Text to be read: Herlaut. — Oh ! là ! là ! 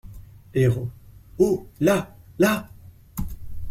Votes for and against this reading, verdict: 2, 0, accepted